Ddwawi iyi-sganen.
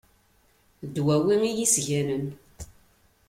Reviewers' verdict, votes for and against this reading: accepted, 2, 0